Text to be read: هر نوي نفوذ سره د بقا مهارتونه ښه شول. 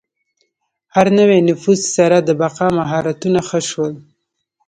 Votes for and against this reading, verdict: 2, 0, accepted